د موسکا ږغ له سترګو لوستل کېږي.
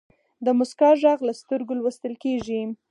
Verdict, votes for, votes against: rejected, 0, 4